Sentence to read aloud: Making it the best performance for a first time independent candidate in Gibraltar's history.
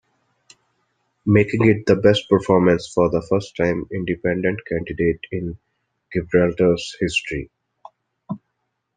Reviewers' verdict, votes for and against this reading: rejected, 0, 2